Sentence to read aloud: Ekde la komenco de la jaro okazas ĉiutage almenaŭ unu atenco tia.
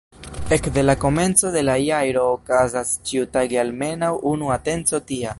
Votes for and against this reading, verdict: 2, 3, rejected